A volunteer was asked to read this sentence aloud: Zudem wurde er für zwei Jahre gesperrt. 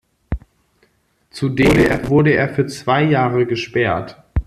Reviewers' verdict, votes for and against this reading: rejected, 0, 2